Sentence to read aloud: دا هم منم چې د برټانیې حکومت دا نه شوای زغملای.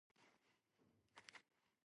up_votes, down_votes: 0, 2